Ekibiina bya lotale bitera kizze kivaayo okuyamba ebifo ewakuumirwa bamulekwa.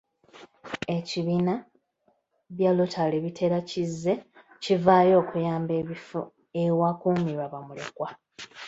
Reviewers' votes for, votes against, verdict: 0, 2, rejected